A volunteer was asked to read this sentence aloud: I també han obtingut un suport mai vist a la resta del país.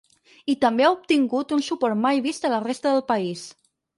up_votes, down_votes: 0, 4